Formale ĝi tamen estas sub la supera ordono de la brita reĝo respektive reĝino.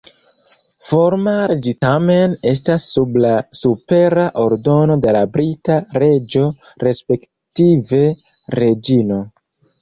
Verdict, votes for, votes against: rejected, 1, 3